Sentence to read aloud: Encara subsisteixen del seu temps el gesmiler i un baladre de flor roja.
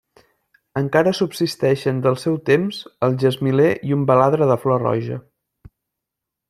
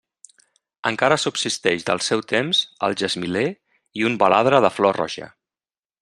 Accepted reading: first